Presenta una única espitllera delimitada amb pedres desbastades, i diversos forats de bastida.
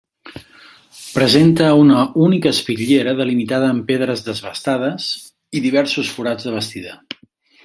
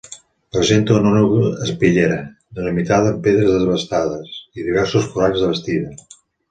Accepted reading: first